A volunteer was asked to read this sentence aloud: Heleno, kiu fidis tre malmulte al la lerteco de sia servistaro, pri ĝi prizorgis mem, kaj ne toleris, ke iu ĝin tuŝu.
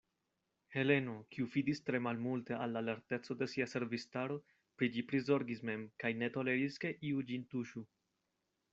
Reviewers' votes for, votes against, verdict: 2, 0, accepted